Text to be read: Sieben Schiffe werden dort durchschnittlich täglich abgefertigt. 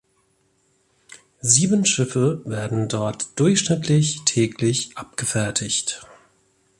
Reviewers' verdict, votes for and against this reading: accepted, 2, 0